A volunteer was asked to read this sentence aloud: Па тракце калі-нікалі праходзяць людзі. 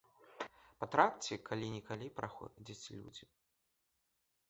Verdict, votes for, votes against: accepted, 3, 2